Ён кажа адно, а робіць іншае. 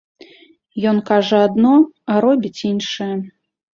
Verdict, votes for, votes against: accepted, 2, 0